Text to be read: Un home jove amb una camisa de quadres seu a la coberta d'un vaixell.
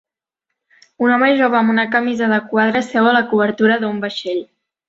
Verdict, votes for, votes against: rejected, 0, 2